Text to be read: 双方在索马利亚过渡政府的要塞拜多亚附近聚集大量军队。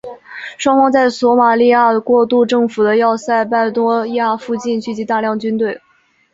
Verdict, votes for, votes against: accepted, 4, 0